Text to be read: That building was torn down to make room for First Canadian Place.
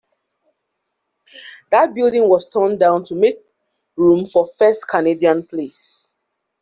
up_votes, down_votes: 3, 0